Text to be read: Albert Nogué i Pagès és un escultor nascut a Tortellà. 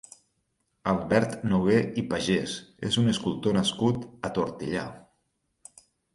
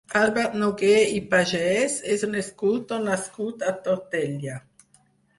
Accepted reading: first